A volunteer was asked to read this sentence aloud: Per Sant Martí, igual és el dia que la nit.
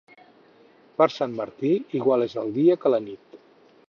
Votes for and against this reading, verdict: 4, 0, accepted